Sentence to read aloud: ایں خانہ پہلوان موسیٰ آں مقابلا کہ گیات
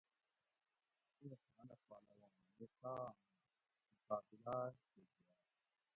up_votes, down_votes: 0, 2